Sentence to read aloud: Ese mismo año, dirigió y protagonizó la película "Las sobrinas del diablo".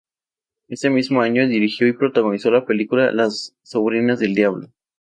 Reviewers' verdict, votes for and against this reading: accepted, 2, 0